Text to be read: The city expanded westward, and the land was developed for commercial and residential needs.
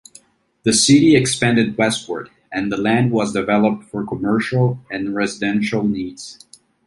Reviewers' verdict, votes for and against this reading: accepted, 2, 0